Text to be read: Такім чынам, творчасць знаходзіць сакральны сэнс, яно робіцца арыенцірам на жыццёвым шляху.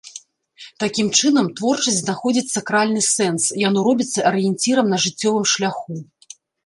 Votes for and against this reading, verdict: 2, 0, accepted